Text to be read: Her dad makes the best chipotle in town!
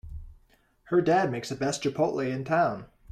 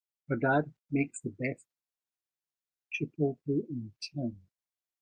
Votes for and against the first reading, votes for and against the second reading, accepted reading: 2, 0, 0, 2, first